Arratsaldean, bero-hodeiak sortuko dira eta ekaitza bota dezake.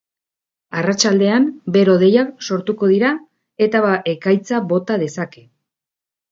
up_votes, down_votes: 2, 0